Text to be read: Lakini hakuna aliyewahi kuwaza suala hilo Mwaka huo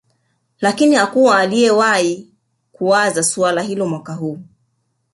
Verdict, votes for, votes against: rejected, 1, 2